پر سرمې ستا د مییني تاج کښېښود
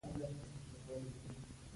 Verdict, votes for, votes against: rejected, 0, 2